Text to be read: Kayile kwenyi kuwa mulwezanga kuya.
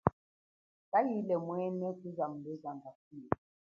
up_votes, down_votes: 2, 1